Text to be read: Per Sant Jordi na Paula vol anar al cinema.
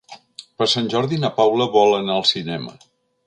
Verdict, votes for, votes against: accepted, 3, 0